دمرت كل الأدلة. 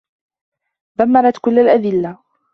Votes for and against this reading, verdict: 2, 0, accepted